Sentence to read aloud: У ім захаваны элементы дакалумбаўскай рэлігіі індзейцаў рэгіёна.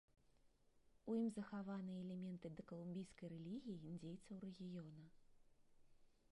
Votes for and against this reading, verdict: 1, 2, rejected